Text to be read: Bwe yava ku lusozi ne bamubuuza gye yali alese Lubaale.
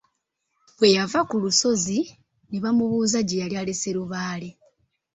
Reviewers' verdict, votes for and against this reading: accepted, 2, 0